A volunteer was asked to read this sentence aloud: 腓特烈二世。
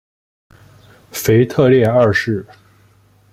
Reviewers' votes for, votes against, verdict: 2, 0, accepted